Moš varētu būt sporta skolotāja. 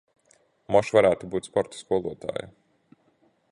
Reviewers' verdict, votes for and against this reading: accepted, 2, 0